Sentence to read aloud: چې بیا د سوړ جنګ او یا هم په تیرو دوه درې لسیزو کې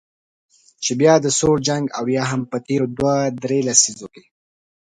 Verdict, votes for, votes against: accepted, 2, 0